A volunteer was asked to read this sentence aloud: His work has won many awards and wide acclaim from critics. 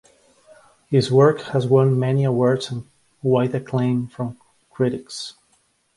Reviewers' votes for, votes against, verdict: 2, 0, accepted